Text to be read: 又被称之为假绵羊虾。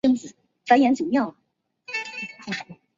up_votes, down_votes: 0, 2